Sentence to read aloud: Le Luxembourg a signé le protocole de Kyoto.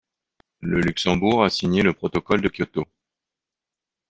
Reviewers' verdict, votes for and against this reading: accepted, 2, 0